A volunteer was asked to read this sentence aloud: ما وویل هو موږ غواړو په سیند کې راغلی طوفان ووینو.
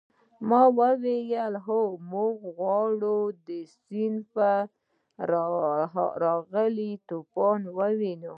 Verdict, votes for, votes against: rejected, 0, 2